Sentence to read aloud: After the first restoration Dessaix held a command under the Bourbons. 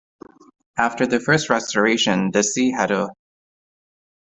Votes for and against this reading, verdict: 0, 2, rejected